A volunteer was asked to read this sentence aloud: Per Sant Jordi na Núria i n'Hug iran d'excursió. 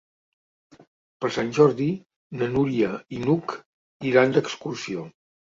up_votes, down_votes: 3, 0